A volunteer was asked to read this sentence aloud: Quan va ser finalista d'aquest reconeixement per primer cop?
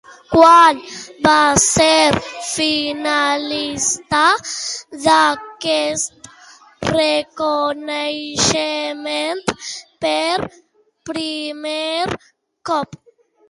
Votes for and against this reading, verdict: 0, 2, rejected